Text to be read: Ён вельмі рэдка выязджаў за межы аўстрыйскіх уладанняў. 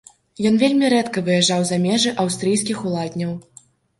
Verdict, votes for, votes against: rejected, 1, 2